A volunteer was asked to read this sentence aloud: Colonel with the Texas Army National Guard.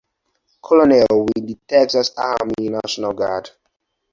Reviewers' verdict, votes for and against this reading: rejected, 2, 4